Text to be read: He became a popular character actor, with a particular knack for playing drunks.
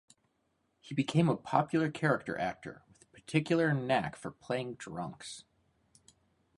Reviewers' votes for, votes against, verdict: 0, 2, rejected